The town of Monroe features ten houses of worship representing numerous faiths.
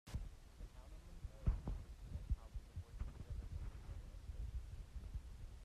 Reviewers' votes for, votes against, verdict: 0, 2, rejected